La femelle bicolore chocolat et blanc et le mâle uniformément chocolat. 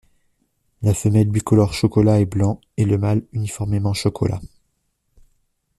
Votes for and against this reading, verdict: 2, 0, accepted